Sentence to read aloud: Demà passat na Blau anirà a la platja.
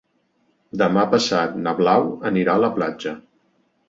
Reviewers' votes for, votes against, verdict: 2, 0, accepted